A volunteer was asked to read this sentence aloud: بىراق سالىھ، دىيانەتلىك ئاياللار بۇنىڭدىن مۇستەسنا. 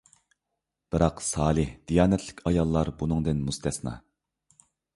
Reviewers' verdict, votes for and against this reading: accepted, 2, 0